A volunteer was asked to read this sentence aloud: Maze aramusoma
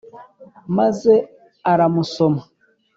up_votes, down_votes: 2, 0